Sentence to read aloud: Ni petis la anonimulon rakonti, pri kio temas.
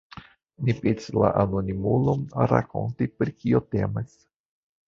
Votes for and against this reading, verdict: 1, 2, rejected